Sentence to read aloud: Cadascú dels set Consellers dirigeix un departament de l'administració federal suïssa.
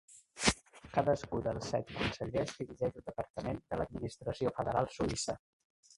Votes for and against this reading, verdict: 1, 2, rejected